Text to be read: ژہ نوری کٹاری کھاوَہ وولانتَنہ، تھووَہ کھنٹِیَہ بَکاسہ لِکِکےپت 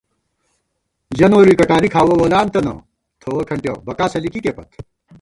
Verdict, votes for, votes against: rejected, 0, 2